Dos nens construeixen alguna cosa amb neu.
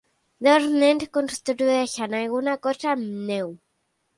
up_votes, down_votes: 3, 0